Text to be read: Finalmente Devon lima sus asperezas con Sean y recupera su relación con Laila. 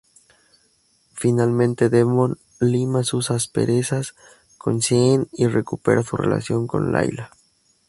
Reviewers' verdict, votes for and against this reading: accepted, 2, 0